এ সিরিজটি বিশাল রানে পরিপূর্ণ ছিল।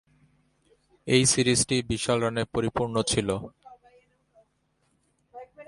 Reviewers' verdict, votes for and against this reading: accepted, 2, 0